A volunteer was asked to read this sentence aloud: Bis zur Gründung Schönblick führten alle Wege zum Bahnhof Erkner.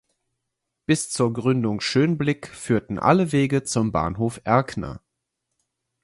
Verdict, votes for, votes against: accepted, 4, 0